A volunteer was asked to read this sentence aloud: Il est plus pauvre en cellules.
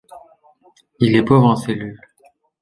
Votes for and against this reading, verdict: 0, 2, rejected